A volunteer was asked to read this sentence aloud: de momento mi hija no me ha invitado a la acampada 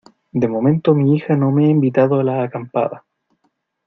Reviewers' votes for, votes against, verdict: 2, 0, accepted